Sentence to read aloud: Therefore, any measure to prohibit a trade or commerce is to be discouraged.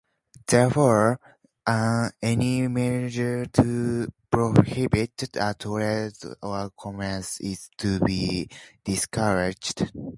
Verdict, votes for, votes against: rejected, 2, 2